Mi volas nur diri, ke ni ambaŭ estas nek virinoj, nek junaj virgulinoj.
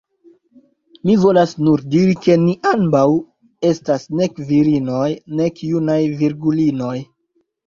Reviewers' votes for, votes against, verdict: 2, 0, accepted